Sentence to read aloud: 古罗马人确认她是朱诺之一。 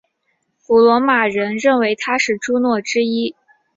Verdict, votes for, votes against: accepted, 2, 1